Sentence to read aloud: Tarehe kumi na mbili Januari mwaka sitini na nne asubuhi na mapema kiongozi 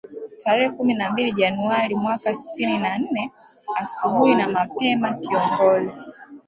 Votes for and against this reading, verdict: 0, 2, rejected